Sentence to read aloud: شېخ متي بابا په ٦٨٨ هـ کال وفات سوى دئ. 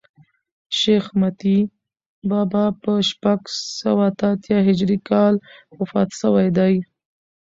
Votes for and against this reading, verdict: 0, 2, rejected